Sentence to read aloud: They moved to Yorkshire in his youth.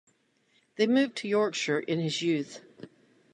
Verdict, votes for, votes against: accepted, 2, 0